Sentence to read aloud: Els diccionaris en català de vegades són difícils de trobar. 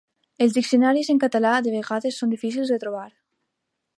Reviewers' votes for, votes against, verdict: 3, 0, accepted